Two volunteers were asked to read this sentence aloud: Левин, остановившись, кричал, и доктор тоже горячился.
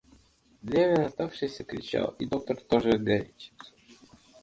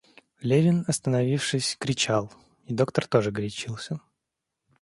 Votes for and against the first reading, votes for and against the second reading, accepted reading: 0, 2, 2, 0, second